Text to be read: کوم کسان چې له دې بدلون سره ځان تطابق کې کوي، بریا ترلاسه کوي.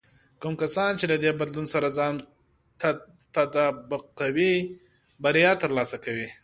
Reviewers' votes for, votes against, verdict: 0, 2, rejected